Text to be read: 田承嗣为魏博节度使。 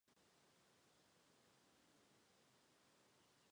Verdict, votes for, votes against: rejected, 0, 2